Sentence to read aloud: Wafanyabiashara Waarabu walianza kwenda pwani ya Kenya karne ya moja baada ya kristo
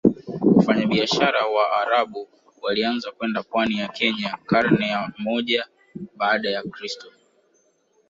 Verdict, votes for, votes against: rejected, 0, 2